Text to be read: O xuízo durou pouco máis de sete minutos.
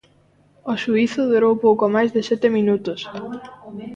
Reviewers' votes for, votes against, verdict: 1, 2, rejected